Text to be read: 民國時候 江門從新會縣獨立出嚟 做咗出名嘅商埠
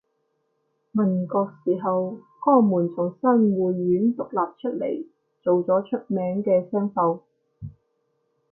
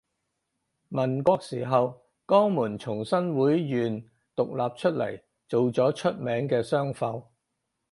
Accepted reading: first